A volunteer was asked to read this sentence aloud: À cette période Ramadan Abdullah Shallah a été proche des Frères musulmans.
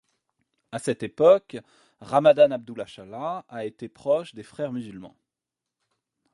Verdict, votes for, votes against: rejected, 1, 2